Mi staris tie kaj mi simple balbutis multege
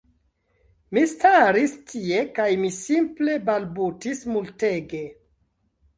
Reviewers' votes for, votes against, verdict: 2, 0, accepted